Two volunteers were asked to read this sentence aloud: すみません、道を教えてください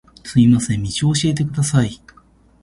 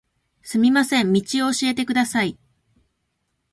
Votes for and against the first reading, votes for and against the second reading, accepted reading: 2, 0, 1, 2, first